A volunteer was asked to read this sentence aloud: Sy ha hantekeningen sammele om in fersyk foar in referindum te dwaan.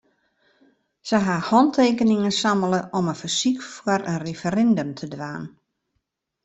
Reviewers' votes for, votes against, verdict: 2, 0, accepted